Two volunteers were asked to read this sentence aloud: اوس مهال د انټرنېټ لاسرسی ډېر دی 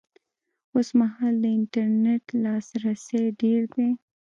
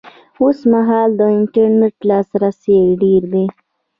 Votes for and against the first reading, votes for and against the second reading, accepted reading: 1, 2, 2, 0, second